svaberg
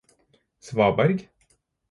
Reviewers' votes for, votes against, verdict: 4, 0, accepted